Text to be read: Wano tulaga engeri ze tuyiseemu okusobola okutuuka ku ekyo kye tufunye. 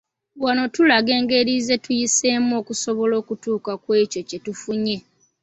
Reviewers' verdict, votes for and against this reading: accepted, 2, 1